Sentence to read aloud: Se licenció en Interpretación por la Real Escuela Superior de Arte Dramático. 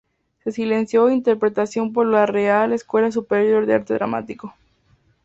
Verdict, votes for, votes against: accepted, 2, 0